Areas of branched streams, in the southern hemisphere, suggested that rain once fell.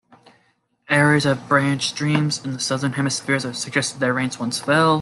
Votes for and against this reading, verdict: 2, 0, accepted